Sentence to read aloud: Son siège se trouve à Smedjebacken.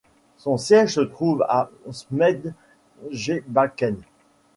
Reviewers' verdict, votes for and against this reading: rejected, 1, 2